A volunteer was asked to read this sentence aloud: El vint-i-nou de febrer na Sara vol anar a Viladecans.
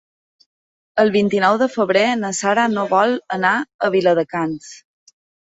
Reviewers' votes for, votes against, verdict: 1, 2, rejected